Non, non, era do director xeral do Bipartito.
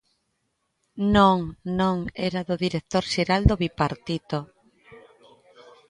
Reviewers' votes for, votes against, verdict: 2, 0, accepted